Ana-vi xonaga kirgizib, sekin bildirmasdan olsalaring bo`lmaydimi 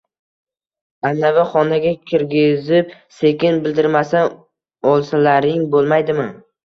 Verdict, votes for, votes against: accepted, 2, 0